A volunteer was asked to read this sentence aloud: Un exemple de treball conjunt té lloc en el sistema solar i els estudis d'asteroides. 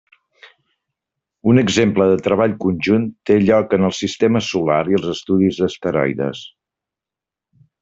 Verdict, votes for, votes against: accepted, 2, 0